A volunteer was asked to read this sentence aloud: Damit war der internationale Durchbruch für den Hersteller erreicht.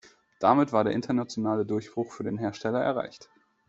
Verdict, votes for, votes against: accepted, 2, 0